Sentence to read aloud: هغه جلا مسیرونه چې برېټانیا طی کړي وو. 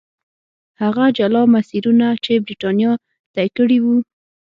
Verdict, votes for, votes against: accepted, 6, 0